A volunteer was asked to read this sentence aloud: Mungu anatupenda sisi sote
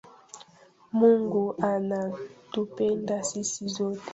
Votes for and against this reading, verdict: 1, 3, rejected